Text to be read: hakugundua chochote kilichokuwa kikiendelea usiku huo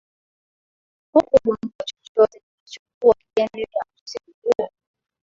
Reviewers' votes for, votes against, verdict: 1, 8, rejected